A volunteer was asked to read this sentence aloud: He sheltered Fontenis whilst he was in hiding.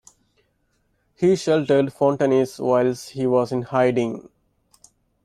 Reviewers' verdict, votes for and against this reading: accepted, 2, 0